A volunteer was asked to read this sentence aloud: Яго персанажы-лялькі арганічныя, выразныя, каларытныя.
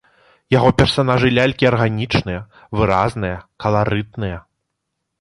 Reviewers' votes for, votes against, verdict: 2, 0, accepted